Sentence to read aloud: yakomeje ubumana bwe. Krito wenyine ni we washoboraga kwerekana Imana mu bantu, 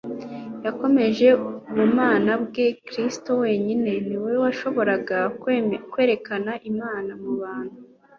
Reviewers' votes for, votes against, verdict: 1, 2, rejected